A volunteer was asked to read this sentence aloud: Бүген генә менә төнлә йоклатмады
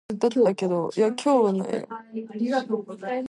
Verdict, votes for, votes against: rejected, 0, 2